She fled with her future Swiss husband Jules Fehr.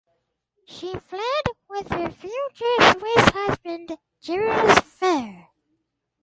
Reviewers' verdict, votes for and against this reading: accepted, 4, 0